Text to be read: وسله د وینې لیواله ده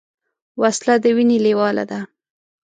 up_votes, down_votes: 2, 0